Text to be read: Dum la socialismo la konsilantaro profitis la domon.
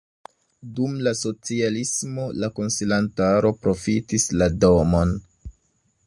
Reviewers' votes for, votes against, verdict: 2, 0, accepted